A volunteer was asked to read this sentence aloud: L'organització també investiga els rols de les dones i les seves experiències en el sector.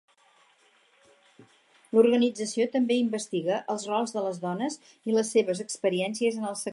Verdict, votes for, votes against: rejected, 2, 4